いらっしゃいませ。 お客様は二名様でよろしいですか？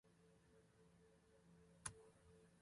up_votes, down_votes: 0, 2